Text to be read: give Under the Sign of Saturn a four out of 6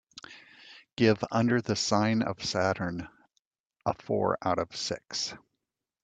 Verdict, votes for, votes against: rejected, 0, 2